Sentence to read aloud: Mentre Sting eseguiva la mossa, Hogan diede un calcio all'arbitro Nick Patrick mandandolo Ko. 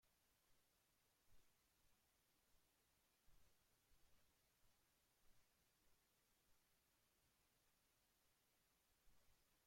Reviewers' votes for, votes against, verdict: 0, 2, rejected